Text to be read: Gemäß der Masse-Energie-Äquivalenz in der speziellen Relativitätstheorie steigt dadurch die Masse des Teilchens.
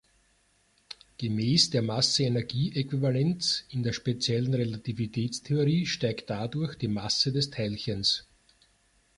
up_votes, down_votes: 2, 0